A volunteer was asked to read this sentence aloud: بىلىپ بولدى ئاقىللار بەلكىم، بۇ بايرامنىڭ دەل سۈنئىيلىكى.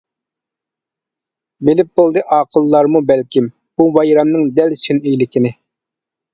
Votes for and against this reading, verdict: 1, 2, rejected